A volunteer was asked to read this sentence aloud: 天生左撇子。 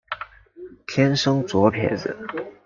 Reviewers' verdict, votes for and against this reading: accepted, 2, 0